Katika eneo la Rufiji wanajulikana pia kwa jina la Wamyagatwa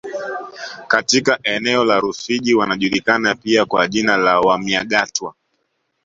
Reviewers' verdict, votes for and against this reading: accepted, 2, 0